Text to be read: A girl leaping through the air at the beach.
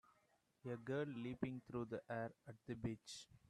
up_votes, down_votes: 2, 0